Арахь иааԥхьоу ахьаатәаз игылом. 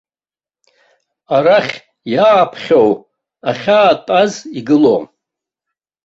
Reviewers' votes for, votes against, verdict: 2, 0, accepted